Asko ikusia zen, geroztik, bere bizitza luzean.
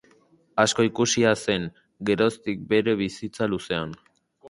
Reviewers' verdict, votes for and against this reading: accepted, 2, 0